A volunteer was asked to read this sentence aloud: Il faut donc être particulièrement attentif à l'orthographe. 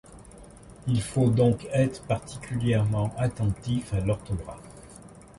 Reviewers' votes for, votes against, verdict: 1, 2, rejected